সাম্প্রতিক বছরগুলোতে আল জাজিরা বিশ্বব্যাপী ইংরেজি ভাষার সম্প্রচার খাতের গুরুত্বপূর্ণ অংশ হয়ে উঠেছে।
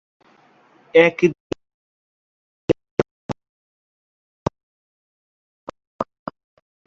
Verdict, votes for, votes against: rejected, 0, 6